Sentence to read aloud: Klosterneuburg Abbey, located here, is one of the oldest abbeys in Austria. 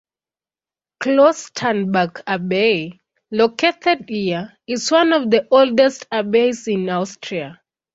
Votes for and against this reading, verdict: 1, 2, rejected